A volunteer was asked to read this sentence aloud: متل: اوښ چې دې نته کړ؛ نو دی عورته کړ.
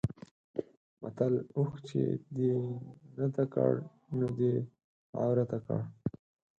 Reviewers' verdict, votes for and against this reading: rejected, 0, 4